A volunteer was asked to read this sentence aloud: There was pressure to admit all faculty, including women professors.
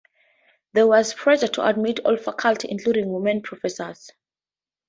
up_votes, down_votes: 0, 4